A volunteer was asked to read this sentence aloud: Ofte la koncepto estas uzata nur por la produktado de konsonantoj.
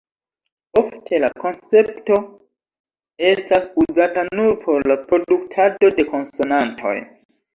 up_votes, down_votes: 1, 2